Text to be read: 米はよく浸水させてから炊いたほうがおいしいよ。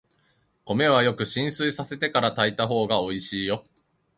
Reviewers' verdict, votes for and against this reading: accepted, 2, 0